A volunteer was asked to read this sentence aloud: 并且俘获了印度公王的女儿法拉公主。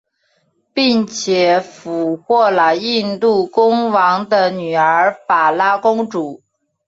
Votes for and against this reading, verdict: 3, 1, accepted